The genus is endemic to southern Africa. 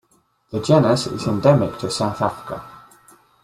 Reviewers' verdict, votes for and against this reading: rejected, 1, 2